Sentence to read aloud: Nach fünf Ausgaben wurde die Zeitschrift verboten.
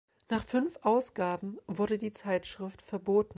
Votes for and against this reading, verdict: 2, 0, accepted